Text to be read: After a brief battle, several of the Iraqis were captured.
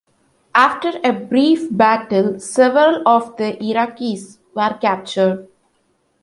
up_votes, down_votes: 2, 0